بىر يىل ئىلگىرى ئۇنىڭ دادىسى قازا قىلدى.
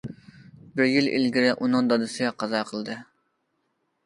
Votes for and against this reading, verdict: 2, 0, accepted